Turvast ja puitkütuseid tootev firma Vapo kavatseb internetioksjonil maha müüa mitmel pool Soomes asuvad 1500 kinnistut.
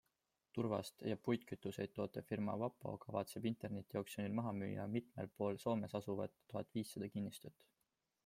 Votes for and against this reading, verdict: 0, 2, rejected